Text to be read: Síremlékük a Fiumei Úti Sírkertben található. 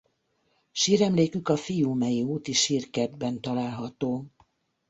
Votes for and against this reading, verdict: 2, 0, accepted